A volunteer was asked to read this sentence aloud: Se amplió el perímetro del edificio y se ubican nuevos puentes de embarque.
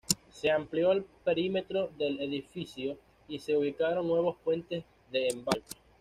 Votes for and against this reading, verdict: 1, 2, rejected